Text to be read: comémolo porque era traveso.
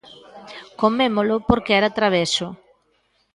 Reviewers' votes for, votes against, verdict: 2, 0, accepted